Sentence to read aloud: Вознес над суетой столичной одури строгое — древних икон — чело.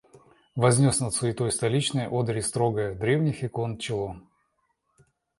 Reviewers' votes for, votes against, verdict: 2, 0, accepted